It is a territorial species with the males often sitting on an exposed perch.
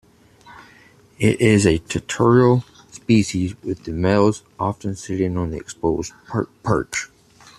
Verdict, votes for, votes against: rejected, 0, 2